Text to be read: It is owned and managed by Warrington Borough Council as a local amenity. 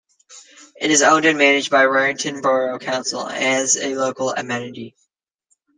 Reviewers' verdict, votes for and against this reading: accepted, 2, 1